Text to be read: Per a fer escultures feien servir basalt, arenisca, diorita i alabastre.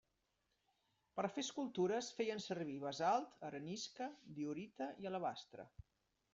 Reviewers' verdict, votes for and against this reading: accepted, 2, 0